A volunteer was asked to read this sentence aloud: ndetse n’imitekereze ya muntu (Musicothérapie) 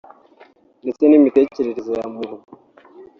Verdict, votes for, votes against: rejected, 0, 2